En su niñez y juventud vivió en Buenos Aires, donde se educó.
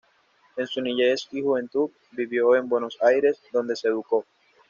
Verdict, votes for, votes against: accepted, 2, 0